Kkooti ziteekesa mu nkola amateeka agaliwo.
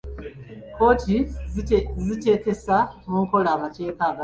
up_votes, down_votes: 0, 3